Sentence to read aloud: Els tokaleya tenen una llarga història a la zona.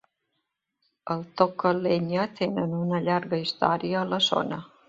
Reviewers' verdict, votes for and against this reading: rejected, 1, 2